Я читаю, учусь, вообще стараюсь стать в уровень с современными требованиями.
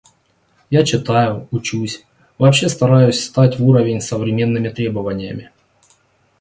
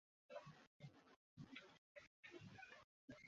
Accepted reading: first